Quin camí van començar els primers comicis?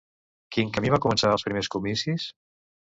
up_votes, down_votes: 0, 2